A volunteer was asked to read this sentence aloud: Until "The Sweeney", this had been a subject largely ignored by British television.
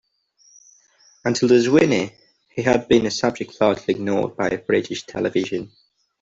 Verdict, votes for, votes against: rejected, 1, 2